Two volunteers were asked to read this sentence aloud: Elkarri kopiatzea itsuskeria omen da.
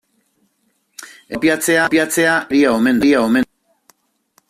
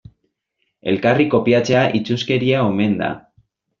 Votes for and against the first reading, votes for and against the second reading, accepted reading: 0, 2, 2, 0, second